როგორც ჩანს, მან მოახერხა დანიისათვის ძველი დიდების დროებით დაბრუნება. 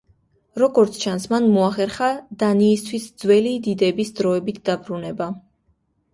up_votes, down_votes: 0, 2